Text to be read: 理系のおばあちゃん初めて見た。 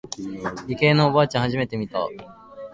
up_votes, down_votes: 2, 0